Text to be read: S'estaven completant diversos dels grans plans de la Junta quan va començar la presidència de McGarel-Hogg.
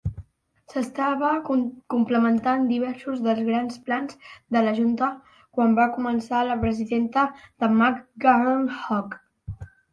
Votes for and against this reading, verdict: 1, 2, rejected